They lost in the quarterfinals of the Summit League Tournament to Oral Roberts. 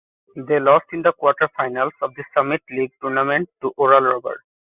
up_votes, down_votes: 2, 1